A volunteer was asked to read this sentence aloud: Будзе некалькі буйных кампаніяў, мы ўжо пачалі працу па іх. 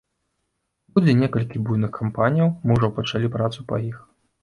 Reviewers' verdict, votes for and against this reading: rejected, 1, 2